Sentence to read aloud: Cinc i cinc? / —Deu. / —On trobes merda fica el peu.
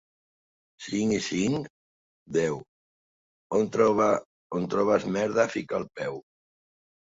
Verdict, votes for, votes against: rejected, 1, 3